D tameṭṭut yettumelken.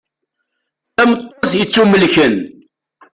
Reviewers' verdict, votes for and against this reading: rejected, 0, 2